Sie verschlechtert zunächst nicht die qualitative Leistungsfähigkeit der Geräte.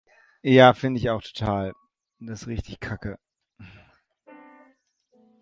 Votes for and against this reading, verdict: 0, 2, rejected